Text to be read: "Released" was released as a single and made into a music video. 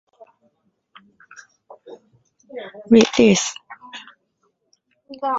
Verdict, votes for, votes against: rejected, 0, 2